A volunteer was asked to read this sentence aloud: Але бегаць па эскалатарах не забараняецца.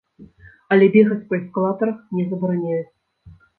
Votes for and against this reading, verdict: 0, 2, rejected